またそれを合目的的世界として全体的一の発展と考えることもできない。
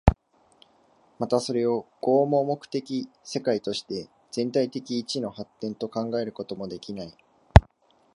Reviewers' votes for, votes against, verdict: 2, 1, accepted